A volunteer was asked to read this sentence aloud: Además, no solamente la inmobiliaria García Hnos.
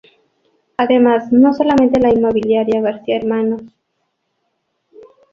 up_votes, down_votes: 0, 2